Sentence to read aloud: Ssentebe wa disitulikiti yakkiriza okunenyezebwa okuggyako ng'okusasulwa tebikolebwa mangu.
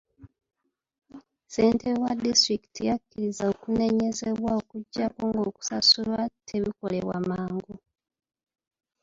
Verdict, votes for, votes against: rejected, 1, 2